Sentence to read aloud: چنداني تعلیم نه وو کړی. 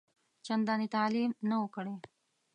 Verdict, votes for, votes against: accepted, 2, 0